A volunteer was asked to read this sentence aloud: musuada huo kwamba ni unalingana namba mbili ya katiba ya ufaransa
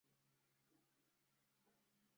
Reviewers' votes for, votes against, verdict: 0, 2, rejected